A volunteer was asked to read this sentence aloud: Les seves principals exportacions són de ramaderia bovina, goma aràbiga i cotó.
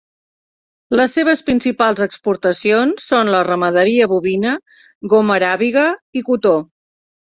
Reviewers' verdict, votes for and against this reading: rejected, 1, 2